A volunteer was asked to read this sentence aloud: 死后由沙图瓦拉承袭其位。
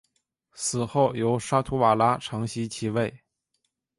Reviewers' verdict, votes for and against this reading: accepted, 2, 0